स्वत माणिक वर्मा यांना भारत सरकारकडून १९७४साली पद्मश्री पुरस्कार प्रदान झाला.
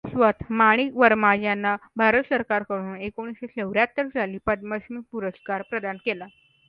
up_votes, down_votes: 0, 2